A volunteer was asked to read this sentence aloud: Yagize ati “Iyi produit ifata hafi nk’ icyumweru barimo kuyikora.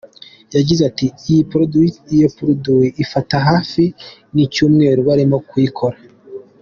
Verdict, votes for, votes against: rejected, 1, 2